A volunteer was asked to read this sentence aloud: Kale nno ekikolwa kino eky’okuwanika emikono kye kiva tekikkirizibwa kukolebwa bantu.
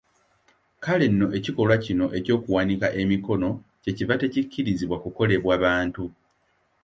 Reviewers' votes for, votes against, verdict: 2, 0, accepted